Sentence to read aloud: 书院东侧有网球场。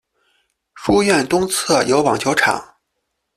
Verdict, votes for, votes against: accepted, 2, 0